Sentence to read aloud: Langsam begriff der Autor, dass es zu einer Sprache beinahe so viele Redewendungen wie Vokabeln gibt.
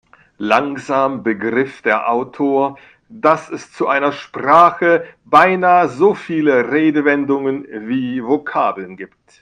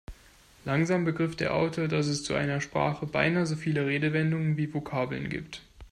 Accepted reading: second